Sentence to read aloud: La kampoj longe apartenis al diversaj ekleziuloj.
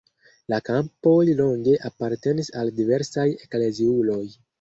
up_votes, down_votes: 1, 2